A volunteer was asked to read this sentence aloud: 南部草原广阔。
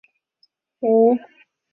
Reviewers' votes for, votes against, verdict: 0, 7, rejected